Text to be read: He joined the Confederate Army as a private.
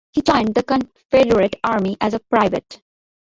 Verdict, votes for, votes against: rejected, 0, 2